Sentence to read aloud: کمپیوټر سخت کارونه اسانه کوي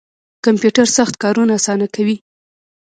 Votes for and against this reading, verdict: 1, 2, rejected